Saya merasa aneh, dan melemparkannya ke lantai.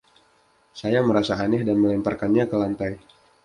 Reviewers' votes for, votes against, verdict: 2, 0, accepted